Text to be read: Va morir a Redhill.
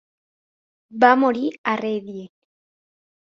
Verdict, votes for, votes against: rejected, 2, 3